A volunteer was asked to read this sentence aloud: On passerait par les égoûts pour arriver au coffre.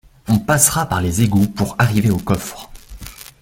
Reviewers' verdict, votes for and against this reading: rejected, 1, 2